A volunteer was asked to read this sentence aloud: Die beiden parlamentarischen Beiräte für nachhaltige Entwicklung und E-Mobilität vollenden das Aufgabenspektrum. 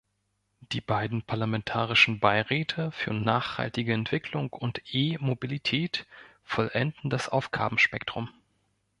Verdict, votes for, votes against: accepted, 3, 0